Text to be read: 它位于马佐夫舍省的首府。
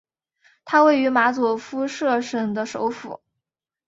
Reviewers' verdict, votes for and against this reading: accepted, 2, 1